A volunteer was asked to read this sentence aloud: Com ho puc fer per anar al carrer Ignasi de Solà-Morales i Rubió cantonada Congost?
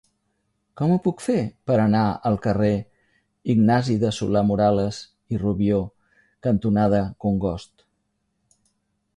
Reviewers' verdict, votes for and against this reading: accepted, 2, 0